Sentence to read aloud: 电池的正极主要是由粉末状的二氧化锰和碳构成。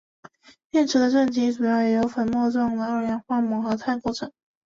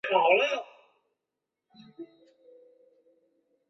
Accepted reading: first